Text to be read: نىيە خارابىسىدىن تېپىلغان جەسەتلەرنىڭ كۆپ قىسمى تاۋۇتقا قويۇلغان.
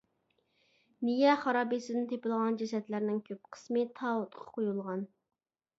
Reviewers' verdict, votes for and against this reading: accepted, 2, 0